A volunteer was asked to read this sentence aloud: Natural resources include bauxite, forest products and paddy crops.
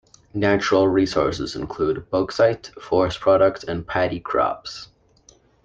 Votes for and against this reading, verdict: 3, 0, accepted